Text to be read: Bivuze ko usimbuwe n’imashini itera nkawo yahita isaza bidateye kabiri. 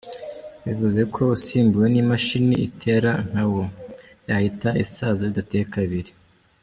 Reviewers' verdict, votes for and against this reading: accepted, 2, 1